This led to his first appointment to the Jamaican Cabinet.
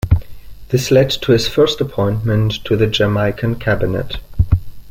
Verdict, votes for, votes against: accepted, 3, 0